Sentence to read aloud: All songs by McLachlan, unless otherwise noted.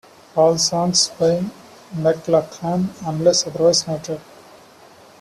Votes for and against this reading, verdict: 2, 0, accepted